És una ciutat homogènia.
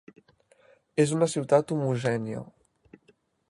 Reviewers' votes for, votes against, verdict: 2, 0, accepted